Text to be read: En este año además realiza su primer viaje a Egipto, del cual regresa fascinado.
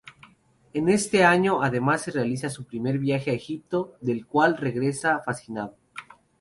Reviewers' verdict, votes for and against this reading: rejected, 0, 2